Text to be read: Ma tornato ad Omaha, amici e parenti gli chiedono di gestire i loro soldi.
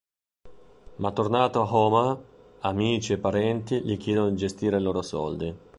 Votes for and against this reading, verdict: 2, 0, accepted